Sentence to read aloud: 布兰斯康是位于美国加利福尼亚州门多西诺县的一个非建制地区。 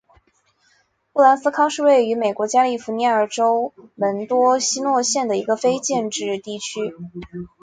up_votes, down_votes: 2, 1